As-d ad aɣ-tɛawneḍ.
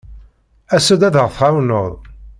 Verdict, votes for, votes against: accepted, 2, 0